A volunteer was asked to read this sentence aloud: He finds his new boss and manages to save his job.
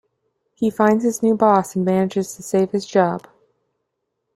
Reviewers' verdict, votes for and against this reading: accepted, 2, 0